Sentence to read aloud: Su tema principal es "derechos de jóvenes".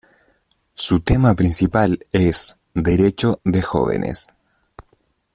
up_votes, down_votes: 0, 2